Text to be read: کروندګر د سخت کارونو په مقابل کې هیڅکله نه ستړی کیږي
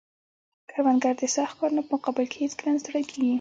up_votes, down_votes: 2, 0